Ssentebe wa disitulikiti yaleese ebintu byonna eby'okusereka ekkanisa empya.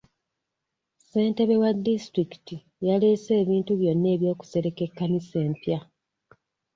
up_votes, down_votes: 0, 2